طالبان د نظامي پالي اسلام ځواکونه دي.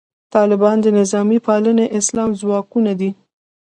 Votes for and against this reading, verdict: 0, 2, rejected